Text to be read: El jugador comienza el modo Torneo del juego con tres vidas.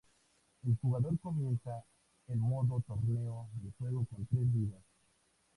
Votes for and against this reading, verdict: 2, 0, accepted